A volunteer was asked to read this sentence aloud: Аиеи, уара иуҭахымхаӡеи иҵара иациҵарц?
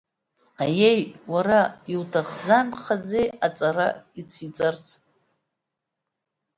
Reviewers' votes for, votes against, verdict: 0, 2, rejected